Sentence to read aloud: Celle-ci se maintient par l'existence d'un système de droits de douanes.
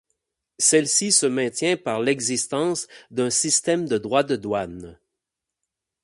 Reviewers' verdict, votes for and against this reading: accepted, 8, 0